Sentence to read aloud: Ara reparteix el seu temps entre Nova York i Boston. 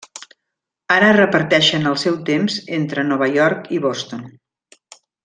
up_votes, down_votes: 0, 2